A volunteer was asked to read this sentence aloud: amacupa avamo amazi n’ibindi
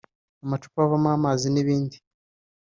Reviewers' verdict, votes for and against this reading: accepted, 2, 0